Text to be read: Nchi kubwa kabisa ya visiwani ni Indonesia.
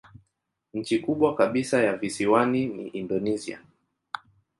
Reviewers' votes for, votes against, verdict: 2, 0, accepted